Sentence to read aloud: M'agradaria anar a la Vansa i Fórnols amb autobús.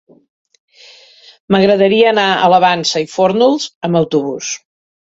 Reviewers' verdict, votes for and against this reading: accepted, 2, 0